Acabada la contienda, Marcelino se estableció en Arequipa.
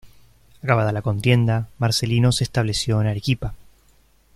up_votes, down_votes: 2, 0